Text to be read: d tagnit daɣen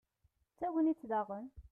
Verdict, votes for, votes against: rejected, 1, 2